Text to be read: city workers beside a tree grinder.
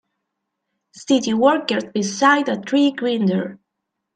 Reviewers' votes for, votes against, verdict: 0, 3, rejected